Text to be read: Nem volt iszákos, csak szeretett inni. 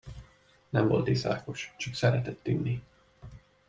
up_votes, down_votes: 2, 0